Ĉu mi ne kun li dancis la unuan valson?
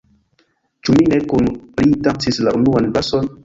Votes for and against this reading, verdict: 0, 2, rejected